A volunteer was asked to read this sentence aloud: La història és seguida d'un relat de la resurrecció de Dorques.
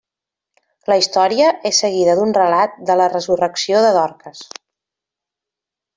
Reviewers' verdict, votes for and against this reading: accepted, 3, 0